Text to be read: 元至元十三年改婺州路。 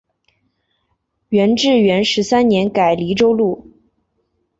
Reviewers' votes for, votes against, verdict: 0, 3, rejected